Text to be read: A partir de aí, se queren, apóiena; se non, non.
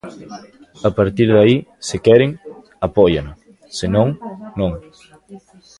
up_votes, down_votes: 0, 2